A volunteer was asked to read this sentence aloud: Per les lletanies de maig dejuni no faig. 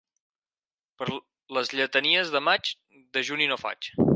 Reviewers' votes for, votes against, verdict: 4, 2, accepted